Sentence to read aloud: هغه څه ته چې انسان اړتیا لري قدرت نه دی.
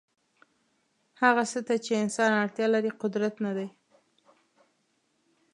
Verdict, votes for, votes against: accepted, 2, 0